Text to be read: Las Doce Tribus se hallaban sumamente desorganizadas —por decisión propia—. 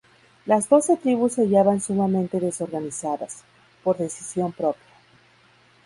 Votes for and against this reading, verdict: 0, 2, rejected